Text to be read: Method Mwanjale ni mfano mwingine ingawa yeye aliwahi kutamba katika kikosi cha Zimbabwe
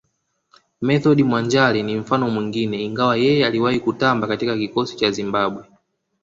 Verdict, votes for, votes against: rejected, 1, 2